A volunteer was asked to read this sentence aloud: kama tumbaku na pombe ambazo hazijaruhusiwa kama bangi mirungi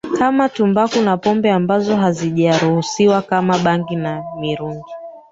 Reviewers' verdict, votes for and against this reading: rejected, 1, 2